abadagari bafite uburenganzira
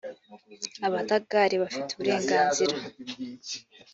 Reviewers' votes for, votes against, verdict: 3, 0, accepted